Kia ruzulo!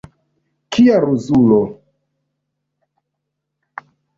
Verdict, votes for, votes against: accepted, 2, 1